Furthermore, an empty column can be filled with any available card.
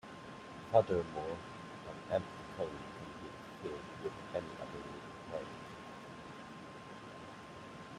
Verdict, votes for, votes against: rejected, 0, 2